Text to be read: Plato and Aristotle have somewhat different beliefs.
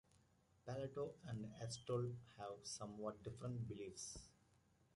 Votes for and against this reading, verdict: 1, 2, rejected